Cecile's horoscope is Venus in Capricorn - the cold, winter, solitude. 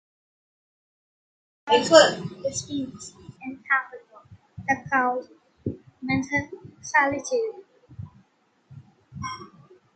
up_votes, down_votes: 0, 2